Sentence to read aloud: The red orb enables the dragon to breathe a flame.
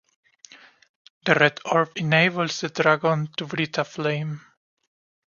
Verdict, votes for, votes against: rejected, 1, 2